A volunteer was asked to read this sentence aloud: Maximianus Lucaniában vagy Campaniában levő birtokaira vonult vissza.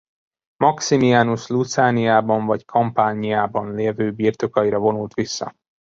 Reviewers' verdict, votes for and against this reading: rejected, 1, 2